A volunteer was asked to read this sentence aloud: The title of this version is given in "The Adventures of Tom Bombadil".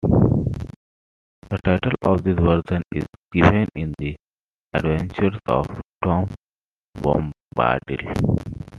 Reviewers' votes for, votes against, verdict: 0, 2, rejected